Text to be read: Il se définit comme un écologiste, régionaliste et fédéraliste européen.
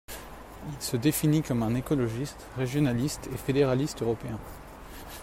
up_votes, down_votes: 1, 2